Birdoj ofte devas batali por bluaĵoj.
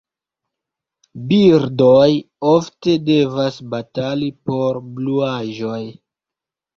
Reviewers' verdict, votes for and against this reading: rejected, 1, 2